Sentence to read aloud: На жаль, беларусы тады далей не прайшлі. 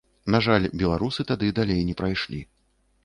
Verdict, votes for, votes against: accepted, 2, 0